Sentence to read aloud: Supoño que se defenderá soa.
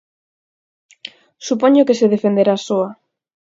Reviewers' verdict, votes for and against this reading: accepted, 4, 0